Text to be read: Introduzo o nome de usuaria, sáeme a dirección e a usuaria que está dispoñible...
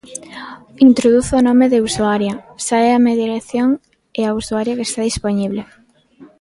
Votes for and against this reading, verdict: 1, 2, rejected